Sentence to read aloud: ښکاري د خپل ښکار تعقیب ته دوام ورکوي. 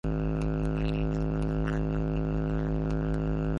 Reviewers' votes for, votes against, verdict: 0, 2, rejected